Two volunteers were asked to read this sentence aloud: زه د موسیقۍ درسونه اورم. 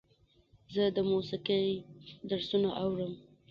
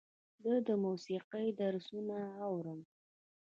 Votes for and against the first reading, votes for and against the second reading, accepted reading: 0, 2, 2, 0, second